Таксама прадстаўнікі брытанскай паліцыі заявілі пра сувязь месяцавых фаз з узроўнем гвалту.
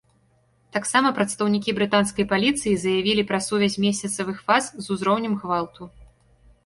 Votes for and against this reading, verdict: 2, 0, accepted